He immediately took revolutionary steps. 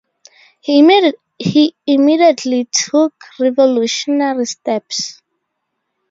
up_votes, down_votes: 4, 12